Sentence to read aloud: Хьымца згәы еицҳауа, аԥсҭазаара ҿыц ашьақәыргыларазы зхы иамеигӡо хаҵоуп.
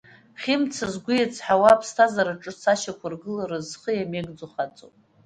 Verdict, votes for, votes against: accepted, 2, 0